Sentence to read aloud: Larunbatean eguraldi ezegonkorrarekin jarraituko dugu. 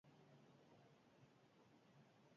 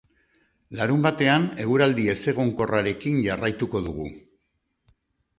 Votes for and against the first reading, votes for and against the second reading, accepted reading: 0, 2, 2, 0, second